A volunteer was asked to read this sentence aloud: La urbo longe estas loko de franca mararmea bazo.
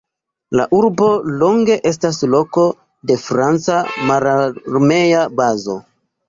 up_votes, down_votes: 1, 2